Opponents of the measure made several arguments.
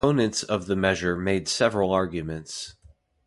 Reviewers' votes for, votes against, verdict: 0, 2, rejected